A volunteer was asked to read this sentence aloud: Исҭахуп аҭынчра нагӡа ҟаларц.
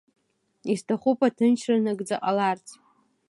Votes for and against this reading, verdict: 2, 0, accepted